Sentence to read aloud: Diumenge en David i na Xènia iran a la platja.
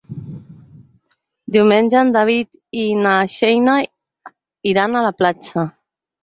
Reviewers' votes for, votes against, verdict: 0, 8, rejected